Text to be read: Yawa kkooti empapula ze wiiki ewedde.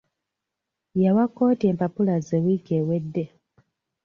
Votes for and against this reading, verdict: 2, 0, accepted